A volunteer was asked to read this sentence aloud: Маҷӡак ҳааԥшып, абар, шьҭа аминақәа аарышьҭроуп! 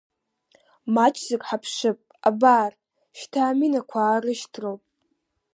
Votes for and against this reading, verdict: 3, 0, accepted